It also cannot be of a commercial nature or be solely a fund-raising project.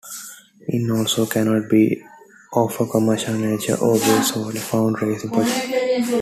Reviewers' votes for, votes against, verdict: 1, 2, rejected